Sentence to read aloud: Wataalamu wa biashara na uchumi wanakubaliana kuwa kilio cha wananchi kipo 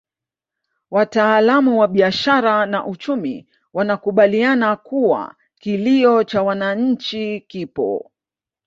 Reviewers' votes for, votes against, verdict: 2, 0, accepted